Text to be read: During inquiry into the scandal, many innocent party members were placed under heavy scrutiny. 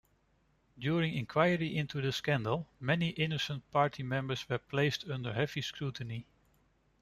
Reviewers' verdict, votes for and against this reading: accepted, 2, 0